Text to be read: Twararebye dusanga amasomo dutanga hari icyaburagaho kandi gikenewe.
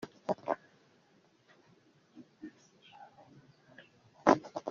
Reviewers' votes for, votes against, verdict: 0, 2, rejected